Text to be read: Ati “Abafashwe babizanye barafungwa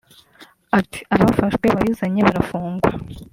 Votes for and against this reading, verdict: 2, 0, accepted